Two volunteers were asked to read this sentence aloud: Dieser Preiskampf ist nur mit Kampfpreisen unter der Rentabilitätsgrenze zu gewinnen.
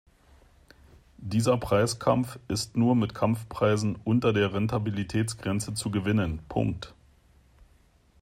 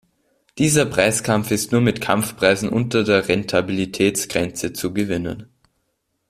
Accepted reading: second